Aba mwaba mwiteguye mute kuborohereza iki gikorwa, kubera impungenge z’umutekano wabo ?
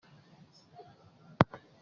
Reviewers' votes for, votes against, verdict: 0, 2, rejected